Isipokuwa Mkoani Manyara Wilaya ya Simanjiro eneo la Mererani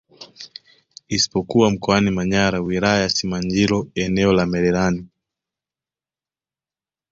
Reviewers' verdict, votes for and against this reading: accepted, 2, 0